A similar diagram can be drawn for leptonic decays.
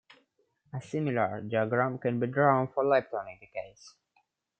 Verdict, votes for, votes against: rejected, 0, 2